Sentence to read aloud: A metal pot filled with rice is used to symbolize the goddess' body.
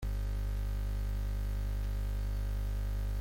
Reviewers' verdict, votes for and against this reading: rejected, 0, 2